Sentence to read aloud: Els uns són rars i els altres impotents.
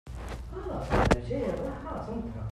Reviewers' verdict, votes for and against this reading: rejected, 0, 2